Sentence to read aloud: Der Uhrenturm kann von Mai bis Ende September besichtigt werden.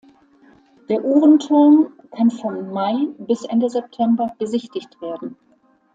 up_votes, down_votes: 2, 0